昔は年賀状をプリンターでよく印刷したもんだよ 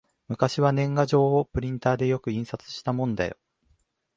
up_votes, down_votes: 0, 2